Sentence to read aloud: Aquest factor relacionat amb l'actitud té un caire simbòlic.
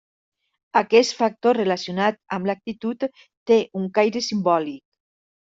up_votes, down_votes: 3, 1